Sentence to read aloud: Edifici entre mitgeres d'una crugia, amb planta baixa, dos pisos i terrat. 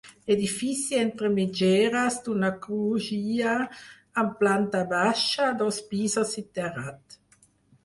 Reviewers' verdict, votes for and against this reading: rejected, 2, 4